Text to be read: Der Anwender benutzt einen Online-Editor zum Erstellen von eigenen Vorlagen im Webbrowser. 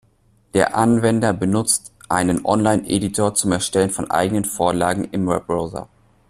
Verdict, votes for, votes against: accepted, 2, 0